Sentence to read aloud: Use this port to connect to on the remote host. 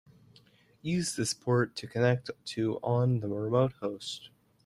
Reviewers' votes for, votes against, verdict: 0, 2, rejected